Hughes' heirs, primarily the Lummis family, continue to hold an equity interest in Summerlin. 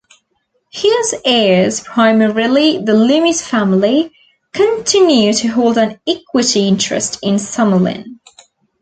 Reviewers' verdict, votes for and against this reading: accepted, 2, 0